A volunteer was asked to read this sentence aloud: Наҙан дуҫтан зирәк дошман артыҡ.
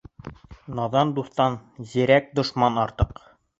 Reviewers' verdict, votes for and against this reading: accepted, 3, 0